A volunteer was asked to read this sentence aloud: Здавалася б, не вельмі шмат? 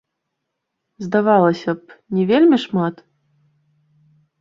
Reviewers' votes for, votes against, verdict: 1, 2, rejected